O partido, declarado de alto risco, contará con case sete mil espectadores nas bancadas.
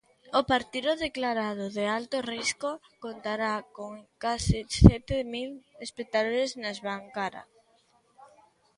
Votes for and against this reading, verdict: 0, 3, rejected